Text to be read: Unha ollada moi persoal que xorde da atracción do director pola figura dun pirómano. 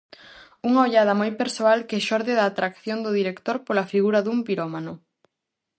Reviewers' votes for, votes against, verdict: 4, 0, accepted